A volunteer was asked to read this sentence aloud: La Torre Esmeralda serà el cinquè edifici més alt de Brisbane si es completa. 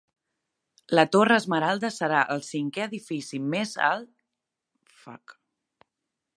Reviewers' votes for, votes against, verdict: 0, 2, rejected